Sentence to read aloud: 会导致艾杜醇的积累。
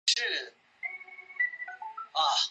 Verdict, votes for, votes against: rejected, 0, 2